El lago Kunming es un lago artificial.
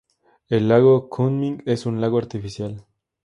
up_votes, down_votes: 2, 0